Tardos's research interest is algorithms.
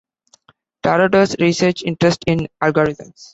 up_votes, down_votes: 0, 2